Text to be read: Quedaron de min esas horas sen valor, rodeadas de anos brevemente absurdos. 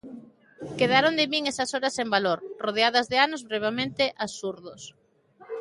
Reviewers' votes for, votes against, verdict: 2, 0, accepted